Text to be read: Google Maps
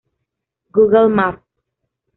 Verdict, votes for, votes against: accepted, 2, 0